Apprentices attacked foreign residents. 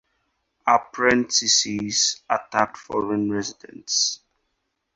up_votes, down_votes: 2, 0